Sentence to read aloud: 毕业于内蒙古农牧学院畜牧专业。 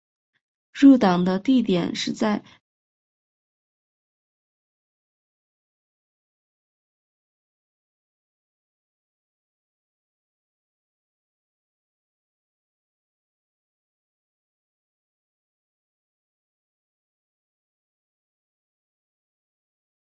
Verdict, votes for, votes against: rejected, 0, 4